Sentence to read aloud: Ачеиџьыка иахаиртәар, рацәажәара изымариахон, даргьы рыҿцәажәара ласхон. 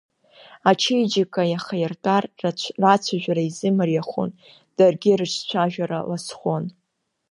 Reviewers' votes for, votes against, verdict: 1, 2, rejected